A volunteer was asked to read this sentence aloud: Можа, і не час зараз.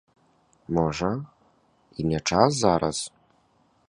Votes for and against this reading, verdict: 2, 0, accepted